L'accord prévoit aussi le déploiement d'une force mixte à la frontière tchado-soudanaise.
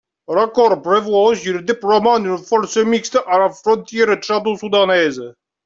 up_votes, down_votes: 1, 2